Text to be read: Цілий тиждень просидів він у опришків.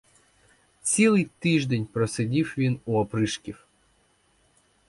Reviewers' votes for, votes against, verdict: 2, 0, accepted